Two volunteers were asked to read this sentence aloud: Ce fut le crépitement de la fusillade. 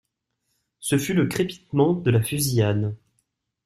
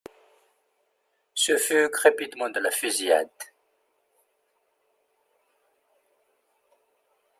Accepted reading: first